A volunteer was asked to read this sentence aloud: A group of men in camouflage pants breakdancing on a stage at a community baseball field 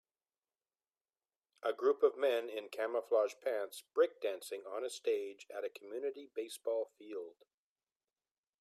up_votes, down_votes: 2, 0